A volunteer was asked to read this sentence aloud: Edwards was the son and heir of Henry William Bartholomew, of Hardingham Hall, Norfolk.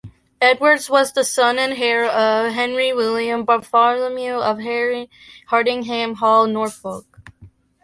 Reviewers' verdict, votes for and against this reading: rejected, 0, 2